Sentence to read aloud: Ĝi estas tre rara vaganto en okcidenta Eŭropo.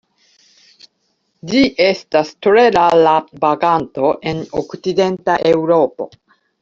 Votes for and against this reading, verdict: 0, 2, rejected